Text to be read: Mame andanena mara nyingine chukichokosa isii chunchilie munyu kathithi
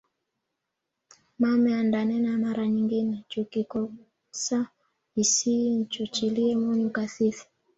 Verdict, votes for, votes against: rejected, 1, 2